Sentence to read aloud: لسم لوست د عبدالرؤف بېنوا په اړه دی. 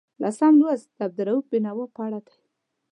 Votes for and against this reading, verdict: 2, 0, accepted